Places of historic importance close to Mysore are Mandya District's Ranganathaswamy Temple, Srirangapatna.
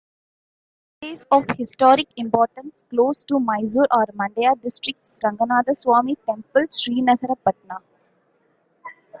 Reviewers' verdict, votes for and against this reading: accepted, 2, 0